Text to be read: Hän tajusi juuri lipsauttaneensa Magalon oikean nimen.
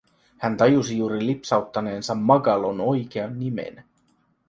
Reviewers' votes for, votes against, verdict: 3, 0, accepted